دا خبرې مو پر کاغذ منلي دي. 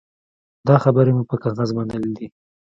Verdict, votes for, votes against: rejected, 0, 2